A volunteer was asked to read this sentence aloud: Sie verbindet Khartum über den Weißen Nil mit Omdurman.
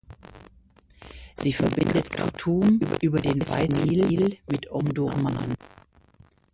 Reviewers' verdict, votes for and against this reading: rejected, 0, 2